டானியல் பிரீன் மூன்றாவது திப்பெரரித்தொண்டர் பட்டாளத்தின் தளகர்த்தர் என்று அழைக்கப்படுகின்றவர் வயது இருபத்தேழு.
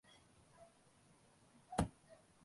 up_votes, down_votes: 0, 2